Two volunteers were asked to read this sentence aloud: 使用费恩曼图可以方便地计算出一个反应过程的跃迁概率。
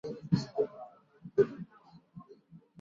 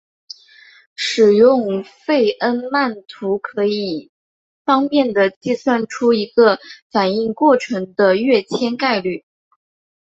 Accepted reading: second